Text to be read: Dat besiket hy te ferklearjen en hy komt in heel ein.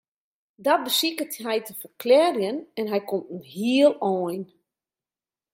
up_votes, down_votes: 1, 2